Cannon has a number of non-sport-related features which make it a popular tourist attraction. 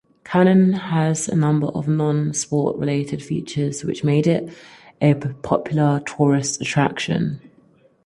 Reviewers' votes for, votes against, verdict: 2, 4, rejected